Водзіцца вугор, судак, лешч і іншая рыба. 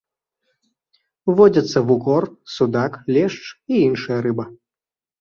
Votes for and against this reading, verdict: 0, 2, rejected